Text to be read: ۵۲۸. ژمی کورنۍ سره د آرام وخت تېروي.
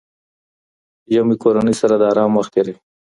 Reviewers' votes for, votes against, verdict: 0, 2, rejected